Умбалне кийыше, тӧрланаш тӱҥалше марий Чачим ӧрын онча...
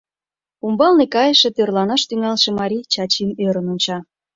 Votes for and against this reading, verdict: 0, 2, rejected